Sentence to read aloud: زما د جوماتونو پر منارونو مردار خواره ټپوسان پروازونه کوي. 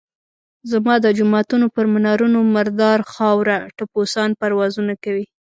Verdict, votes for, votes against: rejected, 0, 2